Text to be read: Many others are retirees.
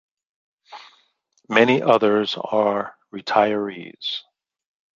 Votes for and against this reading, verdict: 2, 0, accepted